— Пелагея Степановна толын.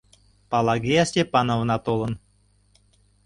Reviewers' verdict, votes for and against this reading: rejected, 0, 2